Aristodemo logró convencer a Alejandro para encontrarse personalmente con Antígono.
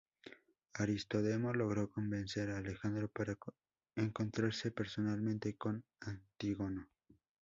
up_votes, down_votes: 0, 2